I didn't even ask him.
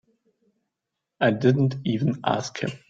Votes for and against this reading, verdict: 2, 0, accepted